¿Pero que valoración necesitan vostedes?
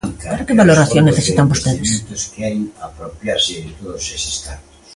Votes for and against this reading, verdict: 0, 2, rejected